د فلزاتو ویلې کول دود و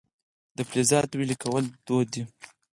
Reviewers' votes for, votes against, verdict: 2, 4, rejected